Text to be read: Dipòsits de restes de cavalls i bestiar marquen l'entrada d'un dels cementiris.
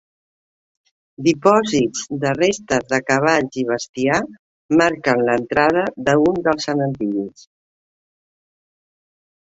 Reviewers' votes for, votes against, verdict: 1, 2, rejected